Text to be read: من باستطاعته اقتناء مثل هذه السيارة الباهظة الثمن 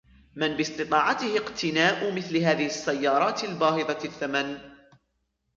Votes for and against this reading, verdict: 0, 2, rejected